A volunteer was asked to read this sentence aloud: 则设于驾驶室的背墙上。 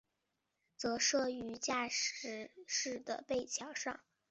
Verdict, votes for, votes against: accepted, 2, 0